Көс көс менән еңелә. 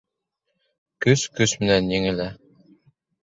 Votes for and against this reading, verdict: 2, 0, accepted